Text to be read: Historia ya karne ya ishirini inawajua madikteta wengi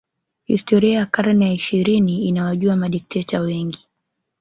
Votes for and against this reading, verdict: 2, 0, accepted